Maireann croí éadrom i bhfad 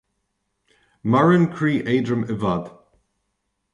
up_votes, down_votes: 2, 0